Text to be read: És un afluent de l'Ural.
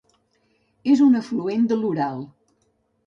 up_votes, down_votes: 2, 0